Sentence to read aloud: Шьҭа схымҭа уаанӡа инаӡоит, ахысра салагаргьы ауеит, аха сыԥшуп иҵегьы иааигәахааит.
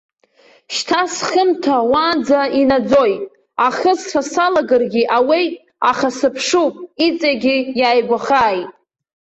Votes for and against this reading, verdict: 2, 1, accepted